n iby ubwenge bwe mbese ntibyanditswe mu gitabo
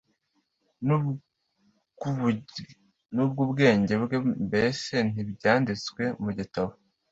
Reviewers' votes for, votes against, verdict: 0, 2, rejected